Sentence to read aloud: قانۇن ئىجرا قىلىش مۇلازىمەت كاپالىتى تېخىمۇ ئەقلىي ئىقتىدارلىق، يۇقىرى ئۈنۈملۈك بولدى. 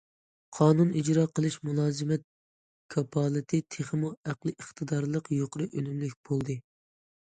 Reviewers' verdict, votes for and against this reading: accepted, 2, 0